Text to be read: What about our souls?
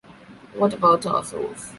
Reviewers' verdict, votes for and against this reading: accepted, 2, 0